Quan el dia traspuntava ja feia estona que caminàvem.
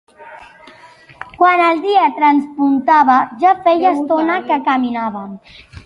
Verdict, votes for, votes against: rejected, 1, 2